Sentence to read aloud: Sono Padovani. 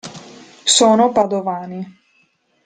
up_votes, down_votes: 2, 0